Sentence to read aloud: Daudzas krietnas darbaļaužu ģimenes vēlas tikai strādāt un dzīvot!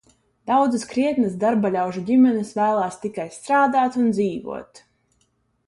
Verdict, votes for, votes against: rejected, 0, 2